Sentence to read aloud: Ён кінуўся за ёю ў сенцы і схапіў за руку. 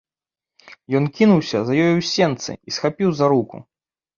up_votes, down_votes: 2, 0